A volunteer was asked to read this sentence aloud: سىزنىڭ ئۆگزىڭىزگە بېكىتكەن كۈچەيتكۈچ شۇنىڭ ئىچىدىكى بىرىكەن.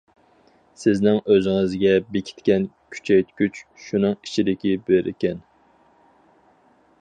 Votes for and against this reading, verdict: 2, 2, rejected